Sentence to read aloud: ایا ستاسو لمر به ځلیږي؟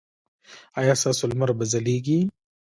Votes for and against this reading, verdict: 2, 0, accepted